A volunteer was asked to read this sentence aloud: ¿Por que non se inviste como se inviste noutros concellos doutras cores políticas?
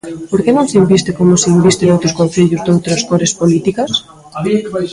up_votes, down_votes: 1, 2